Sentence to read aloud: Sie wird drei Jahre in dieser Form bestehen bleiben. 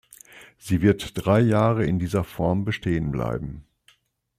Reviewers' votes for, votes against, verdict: 2, 0, accepted